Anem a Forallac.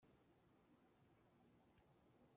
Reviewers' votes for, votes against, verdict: 0, 2, rejected